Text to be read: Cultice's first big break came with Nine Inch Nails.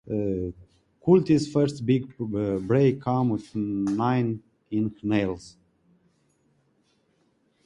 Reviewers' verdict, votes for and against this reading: rejected, 0, 2